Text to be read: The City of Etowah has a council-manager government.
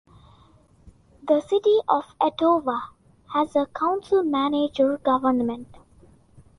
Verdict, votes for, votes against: accepted, 2, 0